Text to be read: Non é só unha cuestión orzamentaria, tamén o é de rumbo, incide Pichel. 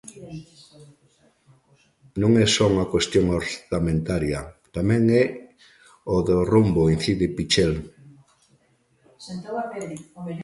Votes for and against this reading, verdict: 0, 2, rejected